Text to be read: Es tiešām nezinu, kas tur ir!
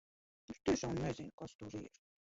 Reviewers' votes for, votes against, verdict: 1, 3, rejected